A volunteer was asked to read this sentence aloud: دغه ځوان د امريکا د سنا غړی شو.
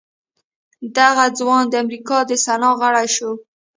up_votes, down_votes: 1, 2